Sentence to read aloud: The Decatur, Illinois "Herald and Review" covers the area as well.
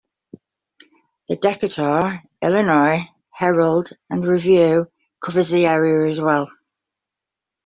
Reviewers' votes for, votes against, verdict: 2, 1, accepted